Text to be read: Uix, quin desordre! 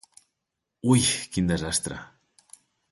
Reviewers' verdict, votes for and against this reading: rejected, 1, 3